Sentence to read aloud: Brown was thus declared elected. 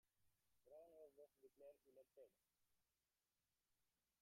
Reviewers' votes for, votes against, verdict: 0, 2, rejected